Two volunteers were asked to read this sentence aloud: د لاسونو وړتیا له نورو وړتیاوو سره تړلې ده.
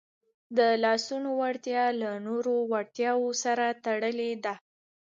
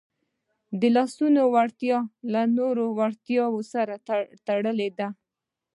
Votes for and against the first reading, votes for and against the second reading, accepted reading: 2, 0, 1, 2, first